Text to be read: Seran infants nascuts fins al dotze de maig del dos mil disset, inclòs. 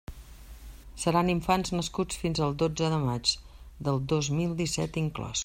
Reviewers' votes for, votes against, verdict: 1, 2, rejected